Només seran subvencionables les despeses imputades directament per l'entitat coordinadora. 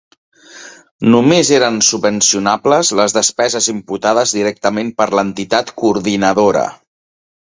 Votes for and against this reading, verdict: 0, 2, rejected